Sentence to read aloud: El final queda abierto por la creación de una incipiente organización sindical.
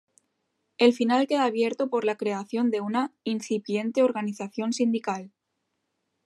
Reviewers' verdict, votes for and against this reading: accepted, 2, 0